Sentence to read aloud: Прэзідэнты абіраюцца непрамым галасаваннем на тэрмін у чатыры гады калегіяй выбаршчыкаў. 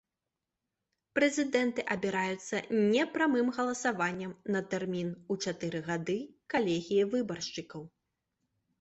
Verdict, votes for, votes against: rejected, 0, 2